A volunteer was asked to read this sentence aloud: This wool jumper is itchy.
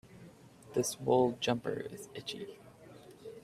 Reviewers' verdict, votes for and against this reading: accepted, 2, 0